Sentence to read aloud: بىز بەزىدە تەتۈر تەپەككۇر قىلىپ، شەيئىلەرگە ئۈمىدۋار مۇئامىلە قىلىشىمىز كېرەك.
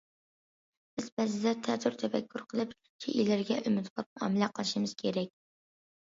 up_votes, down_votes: 2, 0